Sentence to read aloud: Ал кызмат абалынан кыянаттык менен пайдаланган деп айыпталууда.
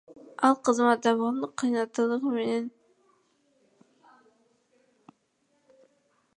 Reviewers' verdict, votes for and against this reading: rejected, 1, 2